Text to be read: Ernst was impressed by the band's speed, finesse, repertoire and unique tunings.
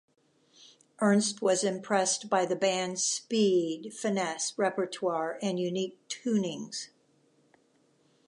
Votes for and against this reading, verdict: 2, 0, accepted